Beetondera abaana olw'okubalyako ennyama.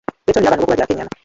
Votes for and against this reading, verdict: 0, 2, rejected